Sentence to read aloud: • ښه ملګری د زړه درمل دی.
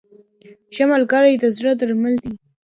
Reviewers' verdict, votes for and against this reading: rejected, 0, 2